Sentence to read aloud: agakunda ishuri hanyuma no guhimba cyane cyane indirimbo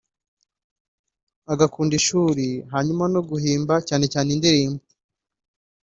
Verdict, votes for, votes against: accepted, 2, 0